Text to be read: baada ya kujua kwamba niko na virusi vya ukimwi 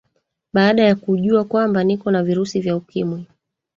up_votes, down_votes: 3, 2